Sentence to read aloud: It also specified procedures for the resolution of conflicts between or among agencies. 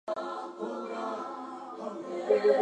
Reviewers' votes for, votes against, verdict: 0, 2, rejected